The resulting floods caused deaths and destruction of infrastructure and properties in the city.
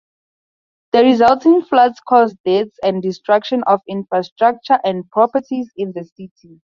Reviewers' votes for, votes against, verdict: 4, 2, accepted